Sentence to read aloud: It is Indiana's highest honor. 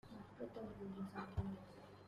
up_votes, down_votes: 0, 2